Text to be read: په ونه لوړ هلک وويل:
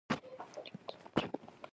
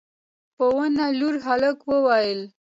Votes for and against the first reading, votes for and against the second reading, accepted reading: 1, 2, 2, 0, second